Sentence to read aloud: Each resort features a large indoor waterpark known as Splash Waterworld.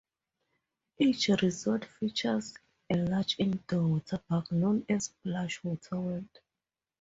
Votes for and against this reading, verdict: 4, 0, accepted